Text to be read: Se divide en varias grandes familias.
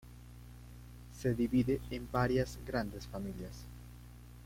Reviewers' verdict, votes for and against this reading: rejected, 1, 2